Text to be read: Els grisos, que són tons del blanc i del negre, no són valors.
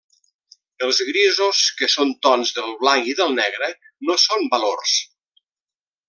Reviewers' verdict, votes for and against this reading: accepted, 3, 0